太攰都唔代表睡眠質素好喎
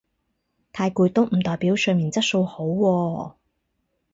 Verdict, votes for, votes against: accepted, 4, 0